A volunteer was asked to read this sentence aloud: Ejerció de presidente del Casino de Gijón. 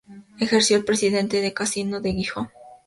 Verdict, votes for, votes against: rejected, 2, 2